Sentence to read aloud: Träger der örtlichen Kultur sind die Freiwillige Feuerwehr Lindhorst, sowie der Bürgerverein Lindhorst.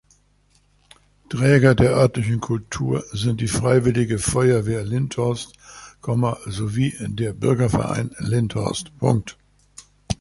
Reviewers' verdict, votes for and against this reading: rejected, 1, 2